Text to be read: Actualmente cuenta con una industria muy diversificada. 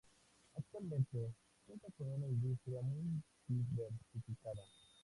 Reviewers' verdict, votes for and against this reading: rejected, 0, 2